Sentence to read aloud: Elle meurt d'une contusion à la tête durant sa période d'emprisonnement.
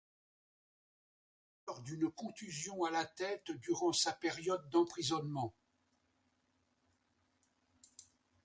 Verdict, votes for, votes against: rejected, 0, 2